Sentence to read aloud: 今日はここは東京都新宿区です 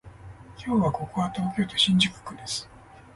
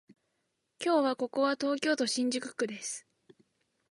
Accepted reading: second